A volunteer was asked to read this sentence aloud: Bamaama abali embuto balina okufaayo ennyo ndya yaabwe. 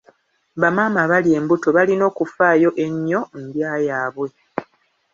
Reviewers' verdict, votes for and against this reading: accepted, 2, 0